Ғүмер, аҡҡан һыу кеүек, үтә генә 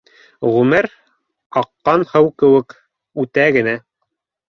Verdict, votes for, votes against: accepted, 2, 0